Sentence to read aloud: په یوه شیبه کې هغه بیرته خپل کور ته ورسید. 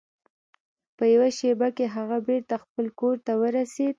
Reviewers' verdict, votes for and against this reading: rejected, 1, 2